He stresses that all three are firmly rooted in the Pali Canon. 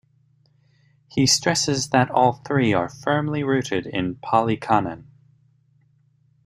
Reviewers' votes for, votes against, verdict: 1, 2, rejected